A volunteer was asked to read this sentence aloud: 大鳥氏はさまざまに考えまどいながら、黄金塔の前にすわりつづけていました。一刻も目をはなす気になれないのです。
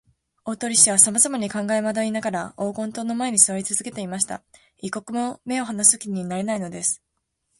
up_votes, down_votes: 0, 2